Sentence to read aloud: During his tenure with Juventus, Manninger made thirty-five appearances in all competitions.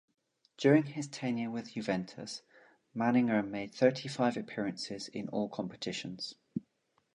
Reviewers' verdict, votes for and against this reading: accepted, 2, 0